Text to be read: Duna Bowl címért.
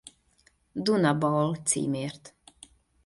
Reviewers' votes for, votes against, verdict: 2, 0, accepted